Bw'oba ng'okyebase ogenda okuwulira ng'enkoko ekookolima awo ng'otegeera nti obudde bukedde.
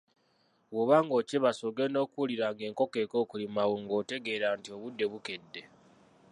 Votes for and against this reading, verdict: 0, 2, rejected